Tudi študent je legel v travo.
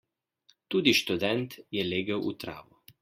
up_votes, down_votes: 2, 0